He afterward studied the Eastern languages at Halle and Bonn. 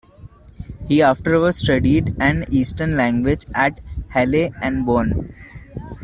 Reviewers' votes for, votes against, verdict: 0, 2, rejected